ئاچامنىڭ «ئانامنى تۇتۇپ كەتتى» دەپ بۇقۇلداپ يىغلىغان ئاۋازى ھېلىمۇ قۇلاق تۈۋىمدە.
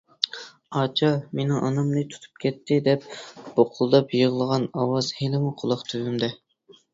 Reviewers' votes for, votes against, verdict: 0, 2, rejected